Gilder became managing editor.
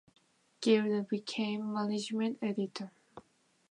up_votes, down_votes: 0, 2